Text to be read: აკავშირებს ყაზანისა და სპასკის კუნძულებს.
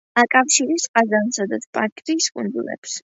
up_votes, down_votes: 2, 0